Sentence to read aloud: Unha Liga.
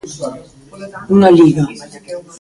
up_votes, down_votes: 0, 2